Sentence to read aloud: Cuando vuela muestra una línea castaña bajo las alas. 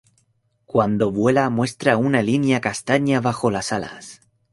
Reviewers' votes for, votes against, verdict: 2, 0, accepted